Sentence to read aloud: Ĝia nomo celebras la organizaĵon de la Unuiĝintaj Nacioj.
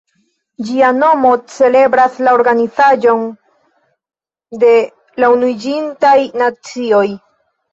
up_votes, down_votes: 1, 2